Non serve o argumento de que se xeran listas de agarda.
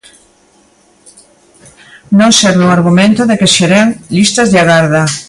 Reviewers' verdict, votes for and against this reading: rejected, 0, 2